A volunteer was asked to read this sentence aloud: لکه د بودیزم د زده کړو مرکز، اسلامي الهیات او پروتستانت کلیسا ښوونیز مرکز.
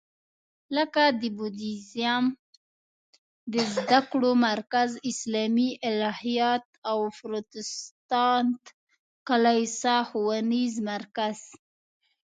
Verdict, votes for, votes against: rejected, 0, 2